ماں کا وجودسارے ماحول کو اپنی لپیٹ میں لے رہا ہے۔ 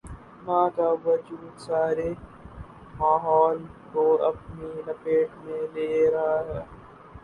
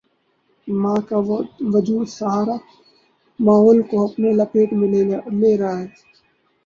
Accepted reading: first